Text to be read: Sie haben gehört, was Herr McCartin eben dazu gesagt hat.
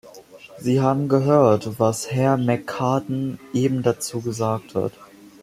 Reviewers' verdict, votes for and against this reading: rejected, 1, 2